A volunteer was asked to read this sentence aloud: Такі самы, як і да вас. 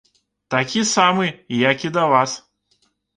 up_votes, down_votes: 2, 0